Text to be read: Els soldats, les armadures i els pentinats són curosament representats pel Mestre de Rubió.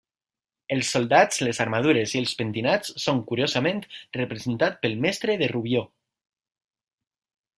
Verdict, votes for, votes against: rejected, 1, 2